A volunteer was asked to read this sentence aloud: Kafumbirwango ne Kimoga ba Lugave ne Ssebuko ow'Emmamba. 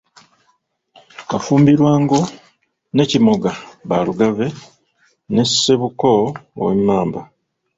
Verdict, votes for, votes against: rejected, 0, 2